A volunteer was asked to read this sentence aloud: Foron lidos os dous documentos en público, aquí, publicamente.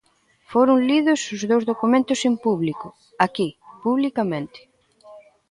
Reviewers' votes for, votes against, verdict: 0, 2, rejected